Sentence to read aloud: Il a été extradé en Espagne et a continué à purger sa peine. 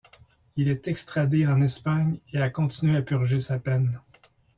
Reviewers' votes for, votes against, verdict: 0, 2, rejected